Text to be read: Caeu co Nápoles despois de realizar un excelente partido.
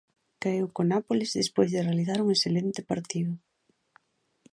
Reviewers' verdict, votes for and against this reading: rejected, 1, 2